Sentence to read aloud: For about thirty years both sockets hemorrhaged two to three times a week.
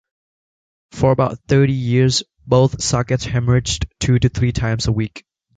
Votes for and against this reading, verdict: 1, 3, rejected